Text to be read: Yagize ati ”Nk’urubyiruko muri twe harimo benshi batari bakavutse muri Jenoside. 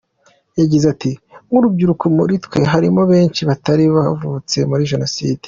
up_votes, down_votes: 1, 2